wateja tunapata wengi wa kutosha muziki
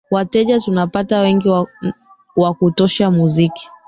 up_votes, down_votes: 0, 2